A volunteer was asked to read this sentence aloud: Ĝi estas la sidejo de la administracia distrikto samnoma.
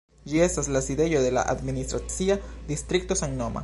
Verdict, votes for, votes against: accepted, 2, 0